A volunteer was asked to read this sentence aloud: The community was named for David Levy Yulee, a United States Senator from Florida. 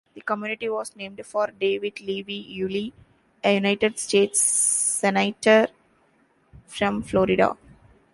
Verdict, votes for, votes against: rejected, 0, 2